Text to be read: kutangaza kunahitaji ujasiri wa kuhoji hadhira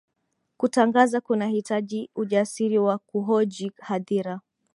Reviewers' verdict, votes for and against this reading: accepted, 2, 0